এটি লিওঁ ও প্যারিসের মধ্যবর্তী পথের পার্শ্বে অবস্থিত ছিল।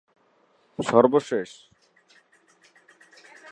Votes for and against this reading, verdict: 0, 2, rejected